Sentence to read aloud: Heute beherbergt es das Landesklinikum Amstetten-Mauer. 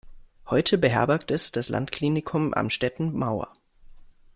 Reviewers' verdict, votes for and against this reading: rejected, 0, 2